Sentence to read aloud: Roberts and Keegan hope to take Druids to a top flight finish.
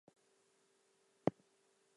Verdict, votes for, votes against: rejected, 0, 4